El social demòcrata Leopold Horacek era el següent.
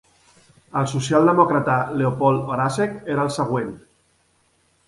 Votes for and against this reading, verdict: 3, 0, accepted